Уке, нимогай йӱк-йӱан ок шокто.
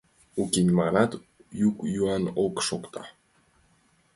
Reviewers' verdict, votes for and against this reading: accepted, 2, 1